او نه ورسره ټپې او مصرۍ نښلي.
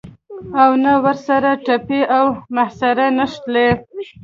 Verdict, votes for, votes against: rejected, 1, 2